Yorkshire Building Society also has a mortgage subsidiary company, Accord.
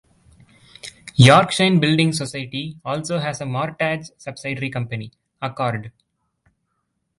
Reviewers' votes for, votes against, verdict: 1, 2, rejected